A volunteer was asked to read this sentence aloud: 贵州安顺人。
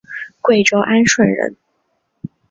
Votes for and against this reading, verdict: 2, 0, accepted